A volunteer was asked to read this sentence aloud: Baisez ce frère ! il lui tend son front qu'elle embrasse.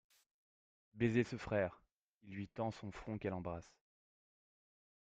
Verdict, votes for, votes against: accepted, 2, 0